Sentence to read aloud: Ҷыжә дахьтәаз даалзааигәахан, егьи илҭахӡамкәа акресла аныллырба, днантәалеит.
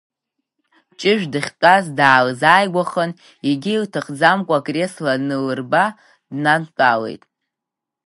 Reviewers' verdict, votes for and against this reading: accepted, 9, 6